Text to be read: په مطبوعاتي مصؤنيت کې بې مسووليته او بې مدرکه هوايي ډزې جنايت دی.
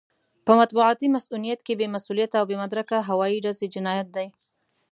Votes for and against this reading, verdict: 2, 0, accepted